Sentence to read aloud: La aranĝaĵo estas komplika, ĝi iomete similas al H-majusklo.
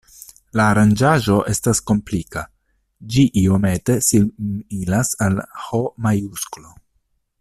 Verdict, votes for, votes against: accepted, 2, 1